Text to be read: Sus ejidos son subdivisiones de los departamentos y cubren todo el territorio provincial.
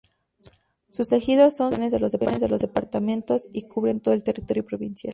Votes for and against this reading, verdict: 0, 4, rejected